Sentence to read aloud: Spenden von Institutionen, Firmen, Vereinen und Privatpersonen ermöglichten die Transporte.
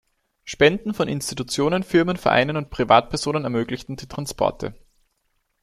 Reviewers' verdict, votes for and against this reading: accepted, 2, 0